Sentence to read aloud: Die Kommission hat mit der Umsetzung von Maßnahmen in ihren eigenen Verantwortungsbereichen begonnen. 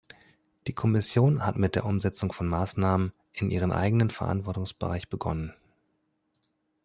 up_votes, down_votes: 1, 2